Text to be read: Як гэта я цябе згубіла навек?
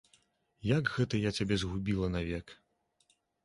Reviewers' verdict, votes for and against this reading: accepted, 2, 0